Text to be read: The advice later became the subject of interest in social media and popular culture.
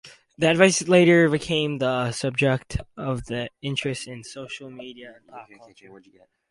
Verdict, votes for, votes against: rejected, 2, 2